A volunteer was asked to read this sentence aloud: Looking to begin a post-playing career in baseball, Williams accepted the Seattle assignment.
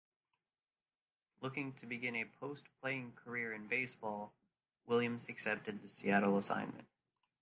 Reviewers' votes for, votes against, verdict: 0, 2, rejected